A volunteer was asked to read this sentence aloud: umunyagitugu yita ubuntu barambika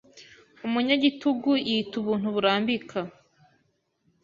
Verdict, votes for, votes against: rejected, 0, 2